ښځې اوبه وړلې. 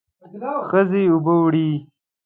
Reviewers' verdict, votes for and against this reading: rejected, 0, 2